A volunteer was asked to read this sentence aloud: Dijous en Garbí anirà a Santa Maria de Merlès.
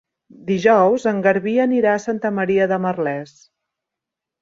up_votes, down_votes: 3, 0